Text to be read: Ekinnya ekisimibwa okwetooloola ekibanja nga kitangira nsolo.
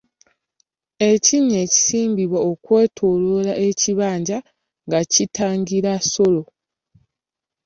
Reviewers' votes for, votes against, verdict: 1, 2, rejected